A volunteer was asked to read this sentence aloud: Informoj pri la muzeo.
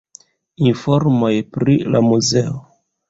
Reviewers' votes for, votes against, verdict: 2, 0, accepted